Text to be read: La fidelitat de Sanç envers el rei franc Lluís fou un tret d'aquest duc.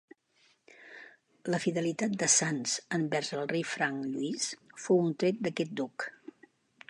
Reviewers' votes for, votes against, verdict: 2, 0, accepted